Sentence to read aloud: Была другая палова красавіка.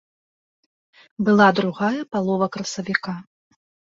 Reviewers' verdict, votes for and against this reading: accepted, 2, 0